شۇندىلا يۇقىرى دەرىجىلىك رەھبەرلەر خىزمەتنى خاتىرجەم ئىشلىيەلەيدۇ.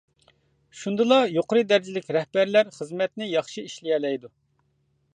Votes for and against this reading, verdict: 0, 2, rejected